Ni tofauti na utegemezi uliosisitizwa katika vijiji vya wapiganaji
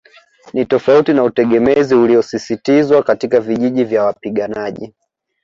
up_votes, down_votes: 2, 0